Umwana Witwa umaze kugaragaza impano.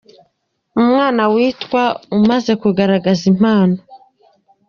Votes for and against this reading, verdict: 3, 0, accepted